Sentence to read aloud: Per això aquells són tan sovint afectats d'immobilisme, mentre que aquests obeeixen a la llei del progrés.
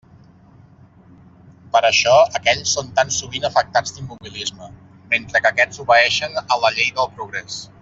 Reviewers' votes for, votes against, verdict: 3, 0, accepted